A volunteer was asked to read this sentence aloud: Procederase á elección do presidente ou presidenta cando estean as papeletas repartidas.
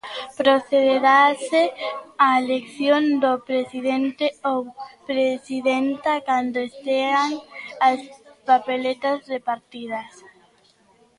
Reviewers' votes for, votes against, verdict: 1, 2, rejected